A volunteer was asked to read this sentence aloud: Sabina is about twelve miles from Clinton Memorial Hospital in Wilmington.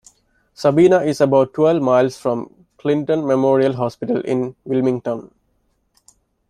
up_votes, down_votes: 2, 0